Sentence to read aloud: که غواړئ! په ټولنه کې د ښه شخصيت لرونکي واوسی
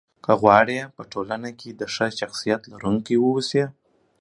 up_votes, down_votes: 2, 0